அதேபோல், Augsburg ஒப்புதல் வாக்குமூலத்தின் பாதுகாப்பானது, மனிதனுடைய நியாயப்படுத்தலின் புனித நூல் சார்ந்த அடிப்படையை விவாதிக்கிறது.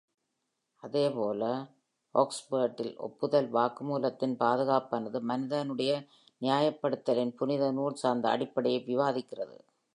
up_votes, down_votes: 2, 0